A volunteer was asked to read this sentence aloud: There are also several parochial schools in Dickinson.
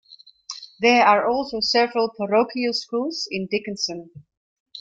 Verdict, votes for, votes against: accepted, 2, 0